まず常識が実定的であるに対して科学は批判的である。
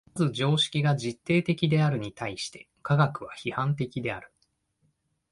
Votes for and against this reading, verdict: 1, 2, rejected